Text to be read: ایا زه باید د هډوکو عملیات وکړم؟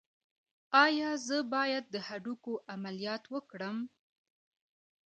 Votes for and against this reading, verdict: 1, 2, rejected